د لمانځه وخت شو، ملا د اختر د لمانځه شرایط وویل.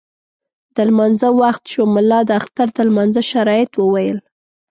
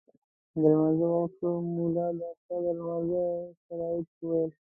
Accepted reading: first